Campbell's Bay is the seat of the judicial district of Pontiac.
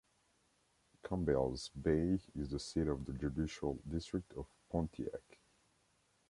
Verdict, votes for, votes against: accepted, 2, 0